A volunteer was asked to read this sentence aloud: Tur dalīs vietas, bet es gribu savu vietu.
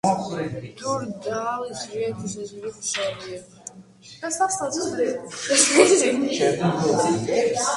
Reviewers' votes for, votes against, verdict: 0, 2, rejected